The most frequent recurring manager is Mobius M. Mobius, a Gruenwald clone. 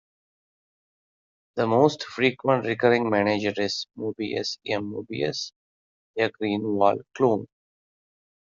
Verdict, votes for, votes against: rejected, 1, 2